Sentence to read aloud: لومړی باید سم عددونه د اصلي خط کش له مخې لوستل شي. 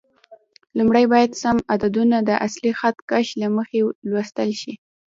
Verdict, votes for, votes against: rejected, 0, 2